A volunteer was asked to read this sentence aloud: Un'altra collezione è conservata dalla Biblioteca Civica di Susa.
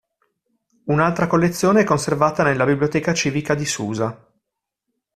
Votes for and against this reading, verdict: 0, 2, rejected